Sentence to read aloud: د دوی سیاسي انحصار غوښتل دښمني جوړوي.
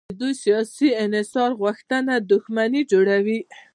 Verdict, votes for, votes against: rejected, 1, 2